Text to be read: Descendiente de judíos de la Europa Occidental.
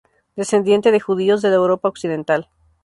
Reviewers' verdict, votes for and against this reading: accepted, 2, 0